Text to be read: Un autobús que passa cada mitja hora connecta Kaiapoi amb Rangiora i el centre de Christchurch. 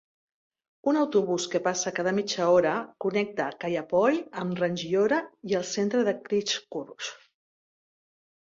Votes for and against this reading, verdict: 1, 3, rejected